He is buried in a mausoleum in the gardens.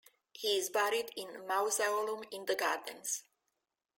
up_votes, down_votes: 2, 1